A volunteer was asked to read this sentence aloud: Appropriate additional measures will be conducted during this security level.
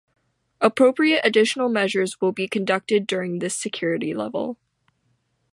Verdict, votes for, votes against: accepted, 3, 0